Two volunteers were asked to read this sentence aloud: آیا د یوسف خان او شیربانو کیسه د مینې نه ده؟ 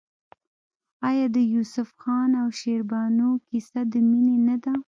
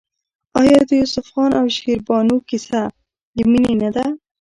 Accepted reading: first